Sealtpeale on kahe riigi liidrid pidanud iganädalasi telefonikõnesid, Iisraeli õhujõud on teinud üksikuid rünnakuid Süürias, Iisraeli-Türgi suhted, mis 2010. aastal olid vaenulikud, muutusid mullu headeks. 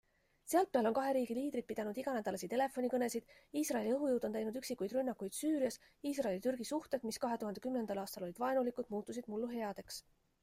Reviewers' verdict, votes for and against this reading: rejected, 0, 2